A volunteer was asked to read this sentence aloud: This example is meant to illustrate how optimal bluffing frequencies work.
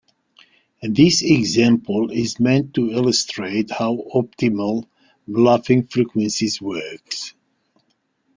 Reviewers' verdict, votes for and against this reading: rejected, 0, 2